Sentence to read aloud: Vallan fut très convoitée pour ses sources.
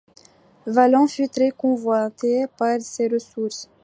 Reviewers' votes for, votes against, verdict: 0, 2, rejected